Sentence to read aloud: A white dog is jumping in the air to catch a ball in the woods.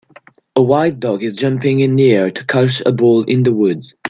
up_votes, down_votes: 1, 2